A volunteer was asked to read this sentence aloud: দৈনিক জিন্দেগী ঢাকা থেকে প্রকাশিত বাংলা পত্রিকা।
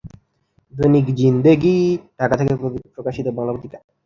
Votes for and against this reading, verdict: 0, 2, rejected